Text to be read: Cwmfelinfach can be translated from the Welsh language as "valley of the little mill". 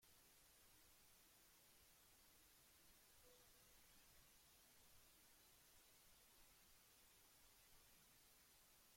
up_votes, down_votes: 0, 2